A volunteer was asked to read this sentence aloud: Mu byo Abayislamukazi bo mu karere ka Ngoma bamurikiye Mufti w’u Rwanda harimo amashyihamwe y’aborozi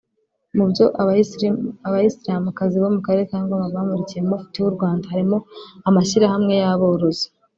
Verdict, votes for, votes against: rejected, 0, 3